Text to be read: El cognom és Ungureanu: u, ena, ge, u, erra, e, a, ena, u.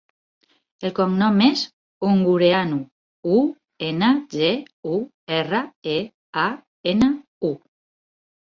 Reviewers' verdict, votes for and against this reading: accepted, 4, 0